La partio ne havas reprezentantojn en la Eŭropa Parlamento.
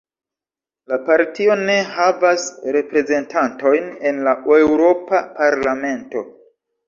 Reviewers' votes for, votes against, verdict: 1, 2, rejected